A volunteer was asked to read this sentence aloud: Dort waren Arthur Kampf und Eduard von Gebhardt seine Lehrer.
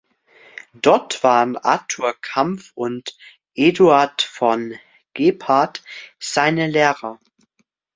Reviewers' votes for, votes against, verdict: 2, 0, accepted